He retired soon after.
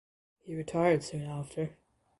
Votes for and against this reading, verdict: 2, 1, accepted